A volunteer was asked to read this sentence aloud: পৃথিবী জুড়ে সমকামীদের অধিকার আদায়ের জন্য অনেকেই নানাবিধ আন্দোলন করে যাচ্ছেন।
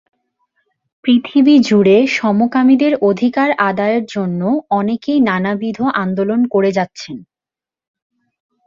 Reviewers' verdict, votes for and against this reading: accepted, 23, 5